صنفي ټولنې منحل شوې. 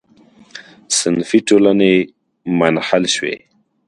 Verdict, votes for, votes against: accepted, 2, 0